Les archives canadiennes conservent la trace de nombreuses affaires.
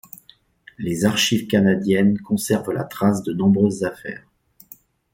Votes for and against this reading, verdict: 2, 0, accepted